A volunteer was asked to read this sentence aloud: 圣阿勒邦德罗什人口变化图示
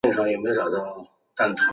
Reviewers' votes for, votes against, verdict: 3, 5, rejected